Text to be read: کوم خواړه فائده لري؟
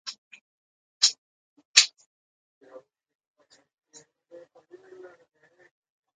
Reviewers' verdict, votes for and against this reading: rejected, 0, 2